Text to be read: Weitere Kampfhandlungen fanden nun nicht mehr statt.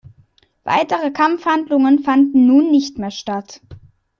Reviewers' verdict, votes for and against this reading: accepted, 2, 0